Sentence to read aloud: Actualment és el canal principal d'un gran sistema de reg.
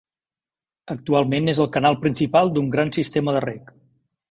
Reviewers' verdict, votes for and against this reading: accepted, 2, 0